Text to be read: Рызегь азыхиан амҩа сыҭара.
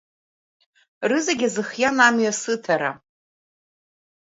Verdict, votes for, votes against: rejected, 0, 2